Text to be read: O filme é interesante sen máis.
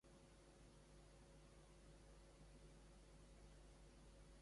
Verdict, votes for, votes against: rejected, 0, 2